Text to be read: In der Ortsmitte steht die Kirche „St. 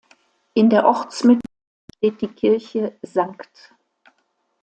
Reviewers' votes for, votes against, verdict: 0, 2, rejected